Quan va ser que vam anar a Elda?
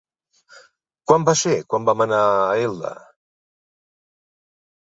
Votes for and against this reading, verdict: 0, 2, rejected